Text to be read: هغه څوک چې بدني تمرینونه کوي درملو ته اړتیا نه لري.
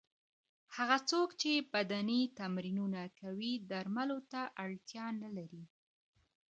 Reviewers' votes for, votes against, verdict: 0, 2, rejected